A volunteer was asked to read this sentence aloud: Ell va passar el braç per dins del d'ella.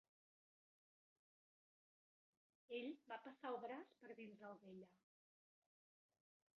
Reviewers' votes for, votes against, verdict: 0, 2, rejected